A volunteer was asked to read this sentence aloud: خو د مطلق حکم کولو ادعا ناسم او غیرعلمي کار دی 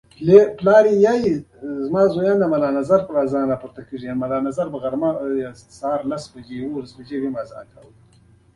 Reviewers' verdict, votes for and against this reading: accepted, 2, 0